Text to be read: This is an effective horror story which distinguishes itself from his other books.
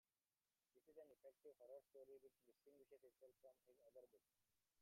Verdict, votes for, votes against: rejected, 1, 2